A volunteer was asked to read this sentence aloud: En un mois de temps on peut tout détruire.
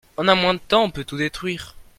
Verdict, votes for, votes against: rejected, 1, 2